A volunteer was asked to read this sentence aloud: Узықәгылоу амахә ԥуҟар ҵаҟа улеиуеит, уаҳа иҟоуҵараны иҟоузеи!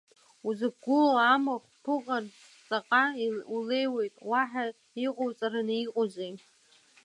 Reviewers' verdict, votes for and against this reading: accepted, 2, 1